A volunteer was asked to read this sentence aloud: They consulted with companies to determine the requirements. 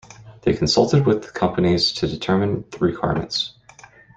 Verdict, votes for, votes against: rejected, 0, 2